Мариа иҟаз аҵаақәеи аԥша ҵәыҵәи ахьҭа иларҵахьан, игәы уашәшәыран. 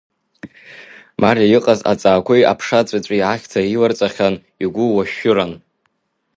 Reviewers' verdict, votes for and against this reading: rejected, 1, 2